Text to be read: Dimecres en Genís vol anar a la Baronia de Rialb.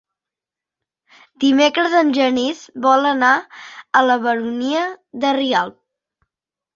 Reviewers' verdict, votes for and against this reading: accepted, 2, 0